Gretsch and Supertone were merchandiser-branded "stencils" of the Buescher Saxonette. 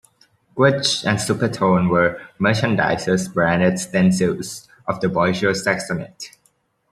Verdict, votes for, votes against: rejected, 1, 2